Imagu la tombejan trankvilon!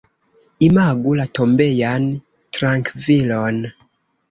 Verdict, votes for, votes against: rejected, 0, 2